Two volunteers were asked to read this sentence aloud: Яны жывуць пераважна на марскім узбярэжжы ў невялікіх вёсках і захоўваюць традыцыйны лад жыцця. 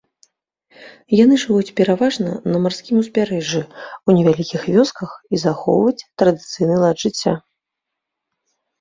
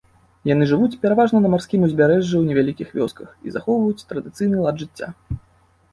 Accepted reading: second